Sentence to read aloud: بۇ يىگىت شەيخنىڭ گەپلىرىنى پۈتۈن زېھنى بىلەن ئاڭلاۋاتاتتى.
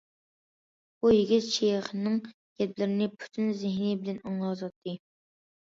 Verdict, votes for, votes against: rejected, 1, 2